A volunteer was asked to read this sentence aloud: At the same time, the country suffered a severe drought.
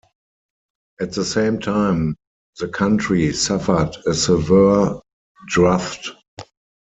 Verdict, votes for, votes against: rejected, 0, 4